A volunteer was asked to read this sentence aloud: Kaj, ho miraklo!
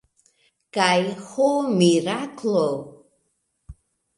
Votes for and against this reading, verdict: 1, 2, rejected